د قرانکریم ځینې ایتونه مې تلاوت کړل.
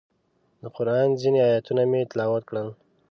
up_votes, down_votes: 0, 2